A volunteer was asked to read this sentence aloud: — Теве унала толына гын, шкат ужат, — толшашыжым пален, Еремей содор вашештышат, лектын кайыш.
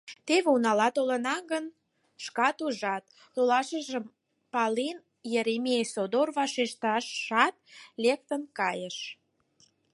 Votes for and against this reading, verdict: 4, 2, accepted